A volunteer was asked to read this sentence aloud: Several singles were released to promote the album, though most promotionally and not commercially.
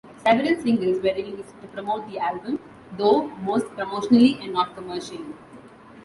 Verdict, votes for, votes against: accepted, 2, 0